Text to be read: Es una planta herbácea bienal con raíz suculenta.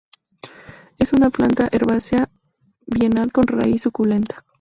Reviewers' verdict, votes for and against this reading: accepted, 2, 0